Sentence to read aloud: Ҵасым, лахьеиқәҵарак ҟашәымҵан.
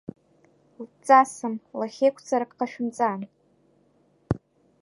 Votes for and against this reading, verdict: 2, 0, accepted